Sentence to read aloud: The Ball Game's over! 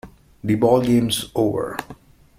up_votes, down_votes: 2, 0